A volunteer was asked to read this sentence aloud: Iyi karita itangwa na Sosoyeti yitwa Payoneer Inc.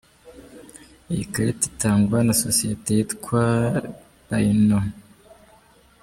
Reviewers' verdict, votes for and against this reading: rejected, 0, 2